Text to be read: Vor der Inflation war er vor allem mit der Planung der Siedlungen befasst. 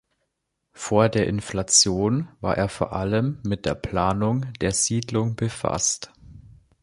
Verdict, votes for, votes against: rejected, 0, 2